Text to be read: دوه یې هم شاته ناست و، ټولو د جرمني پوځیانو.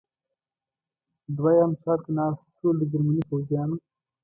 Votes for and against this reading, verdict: 1, 2, rejected